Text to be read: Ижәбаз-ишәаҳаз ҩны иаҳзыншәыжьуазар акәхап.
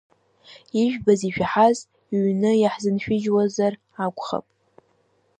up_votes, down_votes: 1, 2